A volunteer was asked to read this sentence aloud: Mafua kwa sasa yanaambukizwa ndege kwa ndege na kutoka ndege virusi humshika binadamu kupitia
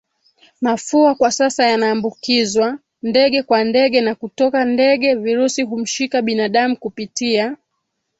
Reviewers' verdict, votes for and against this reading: rejected, 2, 3